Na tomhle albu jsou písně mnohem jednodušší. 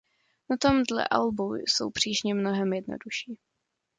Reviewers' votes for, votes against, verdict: 0, 2, rejected